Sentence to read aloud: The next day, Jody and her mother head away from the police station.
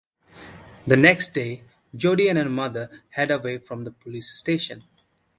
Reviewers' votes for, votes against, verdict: 2, 0, accepted